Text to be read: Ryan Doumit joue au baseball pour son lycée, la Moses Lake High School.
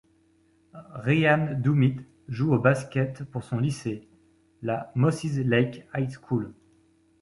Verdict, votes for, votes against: rejected, 0, 2